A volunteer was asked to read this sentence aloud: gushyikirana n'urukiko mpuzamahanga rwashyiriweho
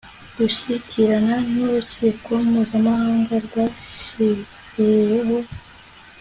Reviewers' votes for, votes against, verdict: 2, 0, accepted